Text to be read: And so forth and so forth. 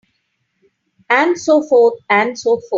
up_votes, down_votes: 2, 1